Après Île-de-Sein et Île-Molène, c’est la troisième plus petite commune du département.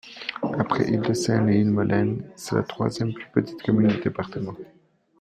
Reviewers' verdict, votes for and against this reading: accepted, 2, 1